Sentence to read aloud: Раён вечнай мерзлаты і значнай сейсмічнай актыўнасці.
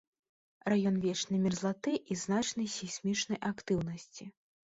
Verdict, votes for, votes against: accepted, 2, 0